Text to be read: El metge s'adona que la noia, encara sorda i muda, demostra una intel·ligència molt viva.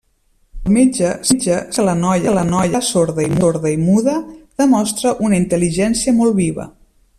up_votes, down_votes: 0, 2